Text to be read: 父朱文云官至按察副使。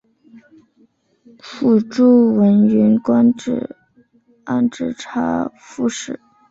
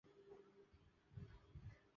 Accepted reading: first